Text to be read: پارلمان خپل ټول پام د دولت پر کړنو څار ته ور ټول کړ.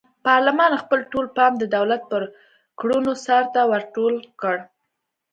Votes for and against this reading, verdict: 2, 0, accepted